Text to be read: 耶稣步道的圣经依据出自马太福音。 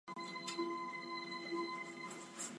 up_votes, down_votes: 0, 2